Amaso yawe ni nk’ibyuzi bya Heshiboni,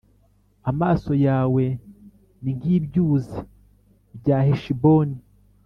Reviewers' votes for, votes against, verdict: 3, 0, accepted